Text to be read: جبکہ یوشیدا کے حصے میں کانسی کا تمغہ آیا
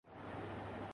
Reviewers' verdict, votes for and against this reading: rejected, 0, 2